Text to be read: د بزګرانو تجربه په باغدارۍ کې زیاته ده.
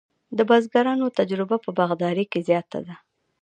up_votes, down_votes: 2, 0